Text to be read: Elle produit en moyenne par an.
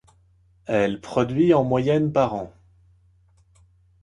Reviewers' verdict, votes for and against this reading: accepted, 2, 0